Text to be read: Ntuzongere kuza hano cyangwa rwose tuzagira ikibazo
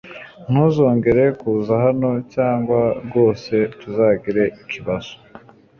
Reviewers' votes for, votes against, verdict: 2, 0, accepted